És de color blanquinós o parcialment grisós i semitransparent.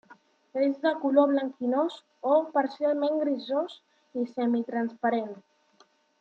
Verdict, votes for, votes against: accepted, 3, 0